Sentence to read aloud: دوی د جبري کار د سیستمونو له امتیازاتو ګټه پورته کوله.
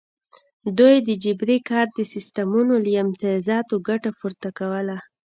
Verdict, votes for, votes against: accepted, 2, 0